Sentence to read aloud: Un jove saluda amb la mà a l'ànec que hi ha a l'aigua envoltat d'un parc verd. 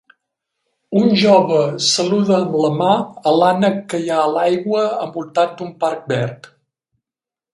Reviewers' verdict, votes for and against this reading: rejected, 0, 2